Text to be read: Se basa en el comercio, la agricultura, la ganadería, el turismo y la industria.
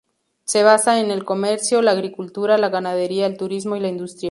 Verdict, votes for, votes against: accepted, 2, 0